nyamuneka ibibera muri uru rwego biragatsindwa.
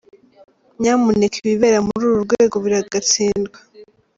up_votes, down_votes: 0, 2